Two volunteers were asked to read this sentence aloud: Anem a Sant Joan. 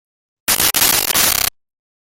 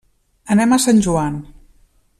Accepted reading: second